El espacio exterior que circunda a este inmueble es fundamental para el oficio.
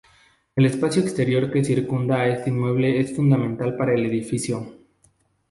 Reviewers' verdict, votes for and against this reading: rejected, 0, 2